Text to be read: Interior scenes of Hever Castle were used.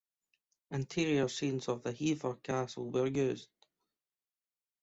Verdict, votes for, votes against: rejected, 1, 2